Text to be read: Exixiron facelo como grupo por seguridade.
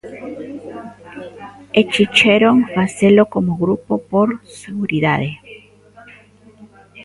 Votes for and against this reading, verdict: 0, 2, rejected